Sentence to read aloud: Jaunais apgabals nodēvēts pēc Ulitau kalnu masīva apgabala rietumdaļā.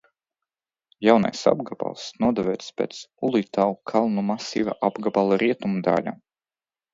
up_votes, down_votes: 0, 2